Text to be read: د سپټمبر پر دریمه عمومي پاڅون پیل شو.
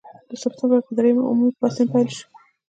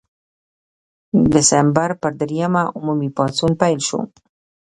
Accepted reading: first